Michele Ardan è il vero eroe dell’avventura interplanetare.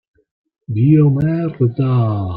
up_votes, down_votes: 0, 2